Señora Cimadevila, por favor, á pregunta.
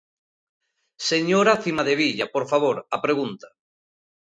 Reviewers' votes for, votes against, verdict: 0, 2, rejected